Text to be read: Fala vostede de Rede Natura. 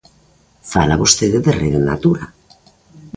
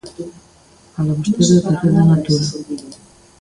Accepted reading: first